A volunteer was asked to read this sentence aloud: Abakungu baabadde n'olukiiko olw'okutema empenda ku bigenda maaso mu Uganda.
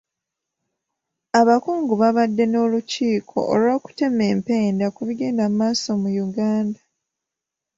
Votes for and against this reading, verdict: 2, 0, accepted